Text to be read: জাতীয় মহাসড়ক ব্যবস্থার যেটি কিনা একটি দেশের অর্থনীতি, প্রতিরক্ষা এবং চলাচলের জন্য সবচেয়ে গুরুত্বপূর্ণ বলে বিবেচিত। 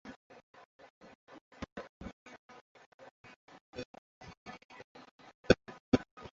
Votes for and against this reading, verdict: 0, 2, rejected